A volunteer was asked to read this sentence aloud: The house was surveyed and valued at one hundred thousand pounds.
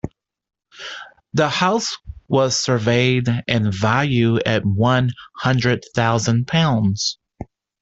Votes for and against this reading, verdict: 0, 2, rejected